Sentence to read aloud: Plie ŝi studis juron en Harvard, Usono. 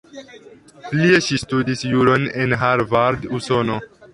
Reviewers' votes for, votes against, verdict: 0, 2, rejected